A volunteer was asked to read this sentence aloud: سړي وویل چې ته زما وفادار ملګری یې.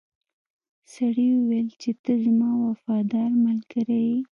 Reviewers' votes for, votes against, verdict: 3, 0, accepted